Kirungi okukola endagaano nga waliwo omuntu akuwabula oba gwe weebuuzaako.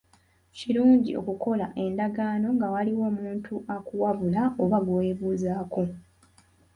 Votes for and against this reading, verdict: 2, 0, accepted